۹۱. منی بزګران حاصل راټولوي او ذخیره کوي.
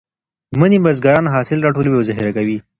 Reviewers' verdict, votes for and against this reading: rejected, 0, 2